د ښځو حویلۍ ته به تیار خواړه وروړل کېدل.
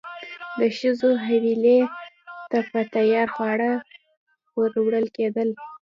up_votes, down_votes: 1, 2